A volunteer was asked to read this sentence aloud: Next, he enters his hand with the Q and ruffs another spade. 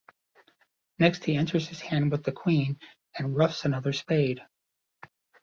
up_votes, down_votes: 0, 2